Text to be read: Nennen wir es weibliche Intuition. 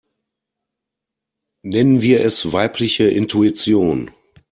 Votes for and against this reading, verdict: 2, 0, accepted